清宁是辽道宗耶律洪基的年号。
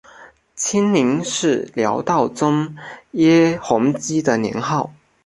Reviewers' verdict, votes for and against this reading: rejected, 0, 2